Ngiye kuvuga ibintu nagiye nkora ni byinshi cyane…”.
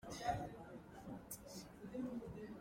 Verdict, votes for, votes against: rejected, 0, 2